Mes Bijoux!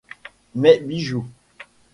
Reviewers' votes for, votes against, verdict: 2, 0, accepted